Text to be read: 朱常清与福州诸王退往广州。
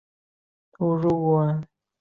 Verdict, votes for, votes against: rejected, 1, 4